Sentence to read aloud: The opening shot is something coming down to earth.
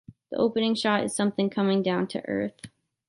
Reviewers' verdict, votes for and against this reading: accepted, 3, 0